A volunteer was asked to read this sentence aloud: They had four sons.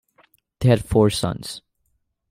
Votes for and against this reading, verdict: 2, 0, accepted